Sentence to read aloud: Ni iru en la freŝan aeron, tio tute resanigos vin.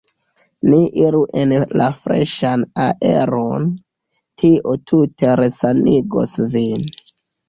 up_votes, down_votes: 2, 0